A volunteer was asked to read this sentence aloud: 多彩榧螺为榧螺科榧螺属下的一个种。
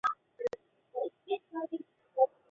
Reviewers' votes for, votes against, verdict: 0, 2, rejected